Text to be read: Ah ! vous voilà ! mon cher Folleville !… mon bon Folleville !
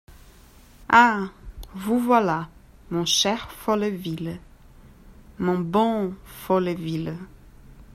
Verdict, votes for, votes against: accepted, 2, 0